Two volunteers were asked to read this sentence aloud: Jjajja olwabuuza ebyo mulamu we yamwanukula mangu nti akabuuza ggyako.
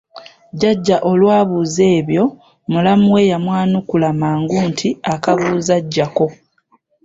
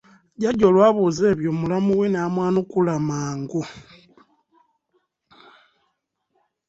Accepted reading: first